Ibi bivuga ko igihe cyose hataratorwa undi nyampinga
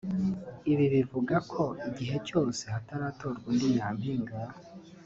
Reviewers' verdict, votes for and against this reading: accepted, 2, 0